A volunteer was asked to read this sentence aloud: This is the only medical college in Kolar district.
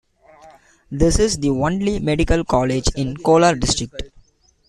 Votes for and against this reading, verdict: 2, 0, accepted